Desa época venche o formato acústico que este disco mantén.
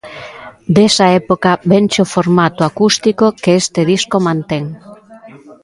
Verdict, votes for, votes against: accepted, 2, 0